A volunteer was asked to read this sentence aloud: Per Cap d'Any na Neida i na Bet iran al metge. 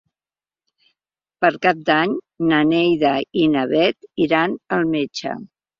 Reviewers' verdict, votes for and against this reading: accepted, 3, 0